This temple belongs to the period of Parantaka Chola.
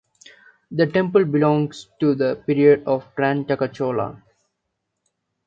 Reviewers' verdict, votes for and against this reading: rejected, 0, 2